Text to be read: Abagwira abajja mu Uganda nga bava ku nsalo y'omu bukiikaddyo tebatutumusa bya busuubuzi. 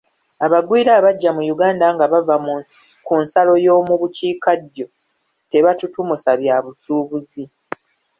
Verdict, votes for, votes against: rejected, 0, 2